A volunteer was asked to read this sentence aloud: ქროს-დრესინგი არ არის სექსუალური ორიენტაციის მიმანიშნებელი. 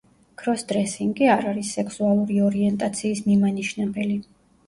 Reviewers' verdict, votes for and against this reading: rejected, 1, 2